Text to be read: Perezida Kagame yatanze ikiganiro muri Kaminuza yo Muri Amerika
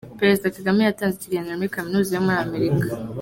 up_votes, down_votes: 3, 1